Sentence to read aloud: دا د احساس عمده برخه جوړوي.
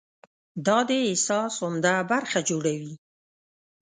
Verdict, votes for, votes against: accepted, 2, 0